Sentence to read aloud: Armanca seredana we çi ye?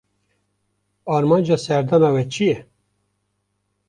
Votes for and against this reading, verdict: 1, 2, rejected